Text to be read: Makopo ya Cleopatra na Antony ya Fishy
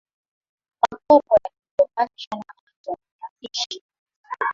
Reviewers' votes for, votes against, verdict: 0, 2, rejected